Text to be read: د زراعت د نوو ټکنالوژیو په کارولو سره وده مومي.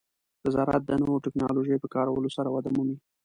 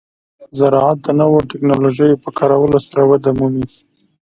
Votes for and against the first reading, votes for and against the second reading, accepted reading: 1, 2, 2, 0, second